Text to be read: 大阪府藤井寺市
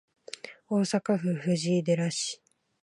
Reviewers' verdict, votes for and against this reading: accepted, 2, 0